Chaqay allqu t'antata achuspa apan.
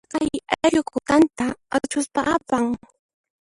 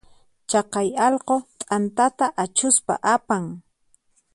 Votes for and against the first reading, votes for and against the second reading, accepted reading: 0, 2, 4, 0, second